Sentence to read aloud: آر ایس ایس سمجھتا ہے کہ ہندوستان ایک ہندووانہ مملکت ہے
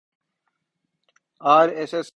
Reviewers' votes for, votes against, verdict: 0, 2, rejected